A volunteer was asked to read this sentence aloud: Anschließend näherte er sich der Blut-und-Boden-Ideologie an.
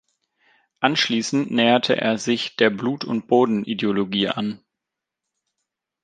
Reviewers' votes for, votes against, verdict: 2, 0, accepted